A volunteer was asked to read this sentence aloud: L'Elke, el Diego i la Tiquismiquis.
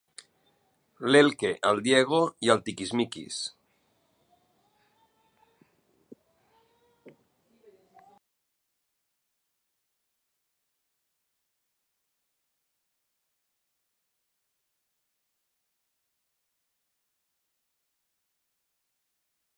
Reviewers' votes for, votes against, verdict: 0, 2, rejected